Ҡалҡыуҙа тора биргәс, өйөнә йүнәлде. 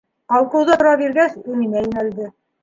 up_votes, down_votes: 0, 2